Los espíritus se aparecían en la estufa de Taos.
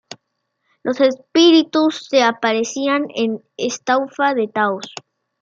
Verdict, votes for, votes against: accepted, 2, 1